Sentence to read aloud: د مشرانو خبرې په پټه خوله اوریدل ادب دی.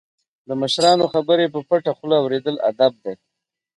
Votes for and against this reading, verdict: 3, 2, accepted